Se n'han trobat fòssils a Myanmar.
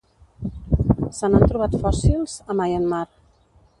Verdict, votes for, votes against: rejected, 1, 2